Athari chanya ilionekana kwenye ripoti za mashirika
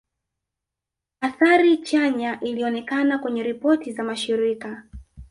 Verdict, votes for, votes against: accepted, 2, 0